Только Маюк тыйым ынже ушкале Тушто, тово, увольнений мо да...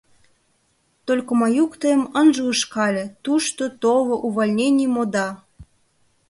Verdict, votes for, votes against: rejected, 0, 2